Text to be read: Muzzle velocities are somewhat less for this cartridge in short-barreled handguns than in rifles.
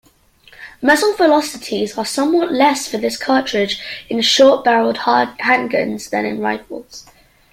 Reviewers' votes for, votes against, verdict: 2, 1, accepted